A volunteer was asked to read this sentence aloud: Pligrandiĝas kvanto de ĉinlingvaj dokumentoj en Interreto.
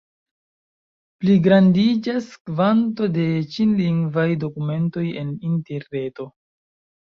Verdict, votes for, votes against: accepted, 2, 0